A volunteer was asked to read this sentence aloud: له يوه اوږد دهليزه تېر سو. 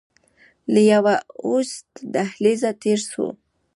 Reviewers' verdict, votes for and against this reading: accepted, 2, 0